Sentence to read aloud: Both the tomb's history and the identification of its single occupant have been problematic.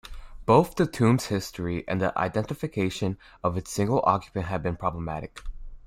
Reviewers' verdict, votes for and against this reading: accepted, 2, 0